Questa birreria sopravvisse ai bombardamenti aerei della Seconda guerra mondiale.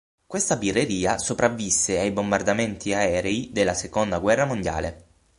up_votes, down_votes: 6, 0